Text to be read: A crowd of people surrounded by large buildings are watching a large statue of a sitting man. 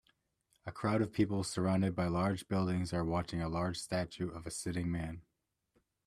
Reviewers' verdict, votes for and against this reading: accepted, 2, 0